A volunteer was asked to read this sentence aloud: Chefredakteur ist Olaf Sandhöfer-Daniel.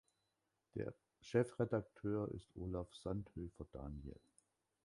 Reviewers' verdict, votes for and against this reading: rejected, 0, 2